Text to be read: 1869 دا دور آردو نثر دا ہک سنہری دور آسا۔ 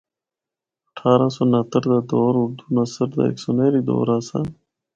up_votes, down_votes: 0, 2